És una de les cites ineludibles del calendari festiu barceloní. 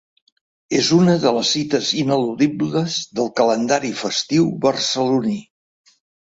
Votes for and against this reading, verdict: 5, 0, accepted